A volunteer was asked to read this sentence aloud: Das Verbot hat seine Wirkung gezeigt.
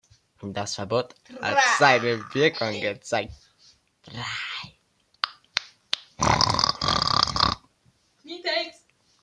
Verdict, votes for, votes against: rejected, 1, 2